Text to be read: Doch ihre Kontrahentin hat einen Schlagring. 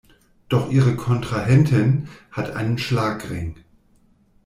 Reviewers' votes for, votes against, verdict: 2, 0, accepted